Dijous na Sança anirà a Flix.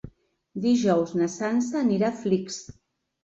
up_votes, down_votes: 3, 1